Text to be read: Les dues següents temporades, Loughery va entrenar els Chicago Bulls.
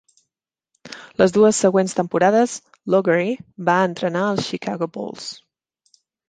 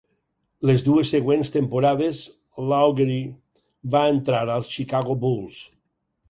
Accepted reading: first